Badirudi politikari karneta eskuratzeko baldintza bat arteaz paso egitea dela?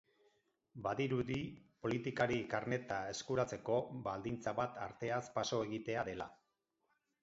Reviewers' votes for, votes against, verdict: 2, 4, rejected